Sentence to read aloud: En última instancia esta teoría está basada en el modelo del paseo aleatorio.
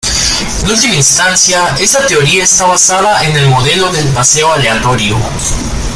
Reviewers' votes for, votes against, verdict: 1, 2, rejected